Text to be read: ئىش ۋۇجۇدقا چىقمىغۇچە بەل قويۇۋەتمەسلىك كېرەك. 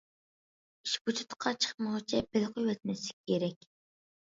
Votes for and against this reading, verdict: 1, 2, rejected